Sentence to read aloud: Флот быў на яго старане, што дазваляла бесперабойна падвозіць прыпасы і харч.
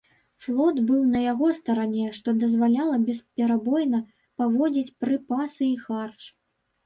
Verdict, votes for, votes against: rejected, 0, 2